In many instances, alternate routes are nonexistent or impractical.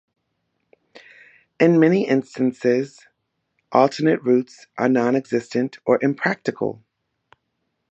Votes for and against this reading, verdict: 1, 2, rejected